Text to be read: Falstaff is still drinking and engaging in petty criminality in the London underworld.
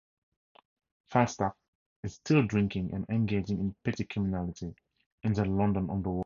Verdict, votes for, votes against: accepted, 2, 0